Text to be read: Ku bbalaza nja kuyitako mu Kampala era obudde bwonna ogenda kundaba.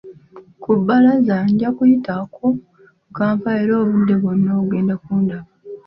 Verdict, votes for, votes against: accepted, 2, 0